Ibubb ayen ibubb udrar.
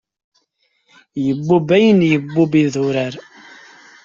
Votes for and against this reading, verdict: 0, 2, rejected